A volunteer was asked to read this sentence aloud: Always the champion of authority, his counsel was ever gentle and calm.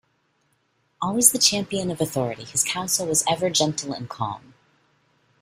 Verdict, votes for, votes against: accepted, 2, 0